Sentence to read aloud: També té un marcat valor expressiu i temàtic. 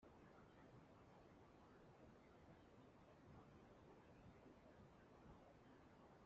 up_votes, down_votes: 0, 2